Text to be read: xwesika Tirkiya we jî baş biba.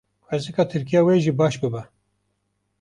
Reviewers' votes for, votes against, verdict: 2, 0, accepted